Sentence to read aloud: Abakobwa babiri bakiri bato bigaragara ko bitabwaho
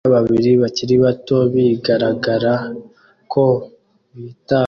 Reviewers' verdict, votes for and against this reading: rejected, 0, 2